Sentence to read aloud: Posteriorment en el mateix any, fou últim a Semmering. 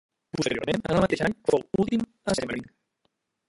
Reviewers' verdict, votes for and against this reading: rejected, 0, 2